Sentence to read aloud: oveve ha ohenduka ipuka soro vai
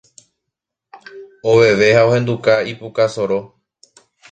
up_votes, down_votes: 0, 2